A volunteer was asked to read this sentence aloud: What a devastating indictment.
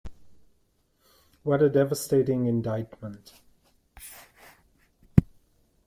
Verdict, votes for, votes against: accepted, 2, 0